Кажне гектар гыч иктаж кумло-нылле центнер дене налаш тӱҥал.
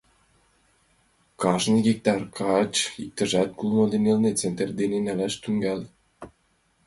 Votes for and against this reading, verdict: 2, 1, accepted